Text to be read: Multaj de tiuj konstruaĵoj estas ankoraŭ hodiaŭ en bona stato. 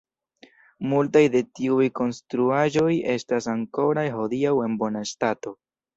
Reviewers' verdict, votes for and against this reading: accepted, 2, 1